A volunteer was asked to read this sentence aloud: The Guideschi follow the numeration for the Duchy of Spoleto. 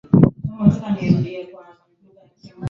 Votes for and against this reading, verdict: 0, 2, rejected